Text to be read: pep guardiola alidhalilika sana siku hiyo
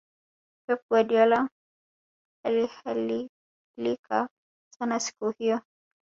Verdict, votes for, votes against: rejected, 1, 2